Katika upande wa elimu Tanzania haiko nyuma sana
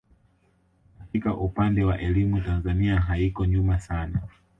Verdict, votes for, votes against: accepted, 2, 0